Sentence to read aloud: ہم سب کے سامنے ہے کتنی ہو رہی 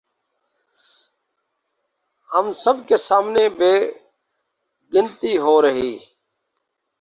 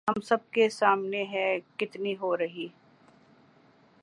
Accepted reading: second